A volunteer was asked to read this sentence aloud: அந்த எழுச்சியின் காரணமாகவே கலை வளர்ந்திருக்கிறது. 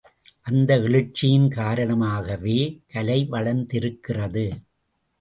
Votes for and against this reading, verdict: 2, 0, accepted